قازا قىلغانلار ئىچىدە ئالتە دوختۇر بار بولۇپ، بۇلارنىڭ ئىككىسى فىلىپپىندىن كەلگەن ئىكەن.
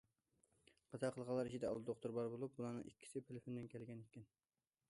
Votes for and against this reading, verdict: 2, 1, accepted